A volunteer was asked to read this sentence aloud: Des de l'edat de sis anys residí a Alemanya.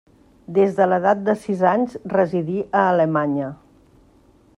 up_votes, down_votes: 3, 0